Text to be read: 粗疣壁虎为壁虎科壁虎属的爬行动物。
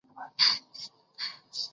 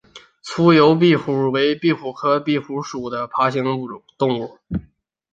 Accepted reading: second